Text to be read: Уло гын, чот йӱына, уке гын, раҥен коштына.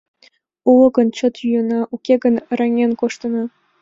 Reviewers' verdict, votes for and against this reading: accepted, 2, 0